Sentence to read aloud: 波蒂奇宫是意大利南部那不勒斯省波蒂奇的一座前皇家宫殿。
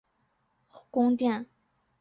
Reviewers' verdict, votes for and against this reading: rejected, 1, 2